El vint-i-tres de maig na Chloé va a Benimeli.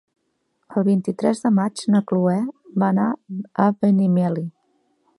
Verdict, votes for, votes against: rejected, 1, 2